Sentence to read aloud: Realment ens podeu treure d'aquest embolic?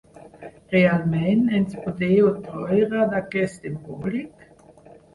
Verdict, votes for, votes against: rejected, 2, 4